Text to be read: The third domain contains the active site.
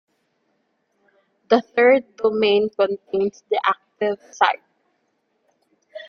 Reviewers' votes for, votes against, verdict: 2, 1, accepted